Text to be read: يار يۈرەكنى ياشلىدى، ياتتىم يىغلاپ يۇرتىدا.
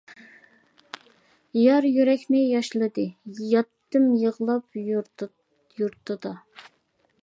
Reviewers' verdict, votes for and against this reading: rejected, 0, 2